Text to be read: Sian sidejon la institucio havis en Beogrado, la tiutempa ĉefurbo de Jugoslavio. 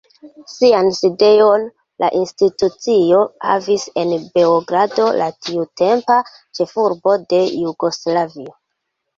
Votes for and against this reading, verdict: 0, 2, rejected